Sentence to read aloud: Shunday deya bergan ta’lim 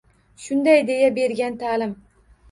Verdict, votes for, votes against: rejected, 1, 2